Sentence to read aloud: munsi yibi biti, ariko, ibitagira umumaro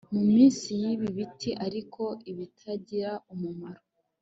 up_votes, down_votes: 2, 0